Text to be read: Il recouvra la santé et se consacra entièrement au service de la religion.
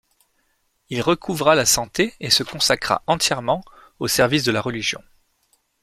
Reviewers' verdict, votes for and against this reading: accepted, 2, 0